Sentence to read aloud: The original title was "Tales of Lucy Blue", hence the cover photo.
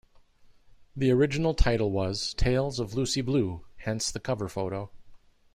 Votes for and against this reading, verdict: 2, 0, accepted